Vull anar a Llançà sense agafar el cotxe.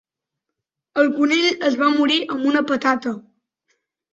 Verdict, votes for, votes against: rejected, 0, 2